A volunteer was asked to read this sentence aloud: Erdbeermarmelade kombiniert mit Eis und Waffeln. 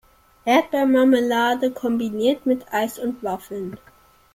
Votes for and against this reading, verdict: 2, 0, accepted